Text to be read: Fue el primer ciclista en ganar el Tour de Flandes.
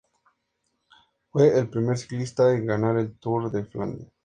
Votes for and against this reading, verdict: 2, 0, accepted